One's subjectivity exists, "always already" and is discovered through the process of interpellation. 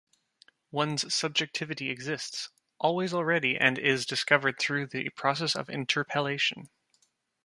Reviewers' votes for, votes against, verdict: 2, 0, accepted